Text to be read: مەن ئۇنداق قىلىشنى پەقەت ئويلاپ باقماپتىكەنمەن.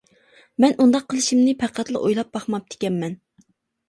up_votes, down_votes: 0, 2